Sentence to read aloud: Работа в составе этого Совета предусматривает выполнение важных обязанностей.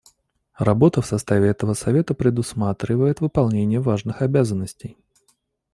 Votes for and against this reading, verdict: 2, 0, accepted